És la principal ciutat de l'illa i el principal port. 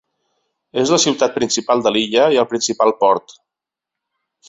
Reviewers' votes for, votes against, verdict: 1, 2, rejected